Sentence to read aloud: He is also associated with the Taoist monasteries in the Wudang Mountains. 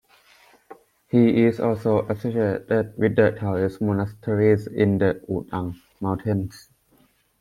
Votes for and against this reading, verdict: 0, 2, rejected